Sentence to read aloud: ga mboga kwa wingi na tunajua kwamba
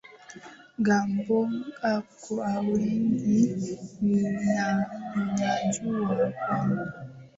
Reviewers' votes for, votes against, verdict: 0, 2, rejected